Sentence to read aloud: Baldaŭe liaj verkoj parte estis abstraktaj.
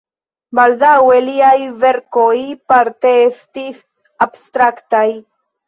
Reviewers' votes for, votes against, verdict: 2, 0, accepted